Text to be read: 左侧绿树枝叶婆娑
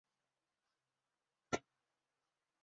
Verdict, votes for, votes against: rejected, 0, 5